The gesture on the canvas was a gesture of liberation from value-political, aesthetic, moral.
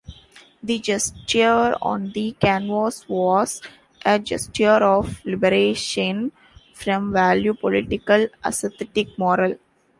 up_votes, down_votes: 0, 2